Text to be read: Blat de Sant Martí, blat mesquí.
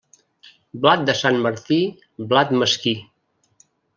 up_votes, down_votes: 1, 2